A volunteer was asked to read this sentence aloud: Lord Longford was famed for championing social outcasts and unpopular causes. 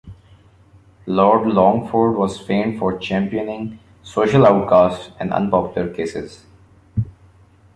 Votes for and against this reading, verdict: 1, 2, rejected